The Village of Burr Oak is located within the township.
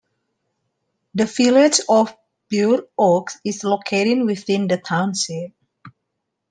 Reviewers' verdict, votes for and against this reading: accepted, 2, 1